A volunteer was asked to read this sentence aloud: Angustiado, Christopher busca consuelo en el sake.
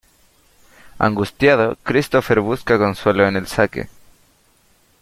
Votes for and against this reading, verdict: 2, 0, accepted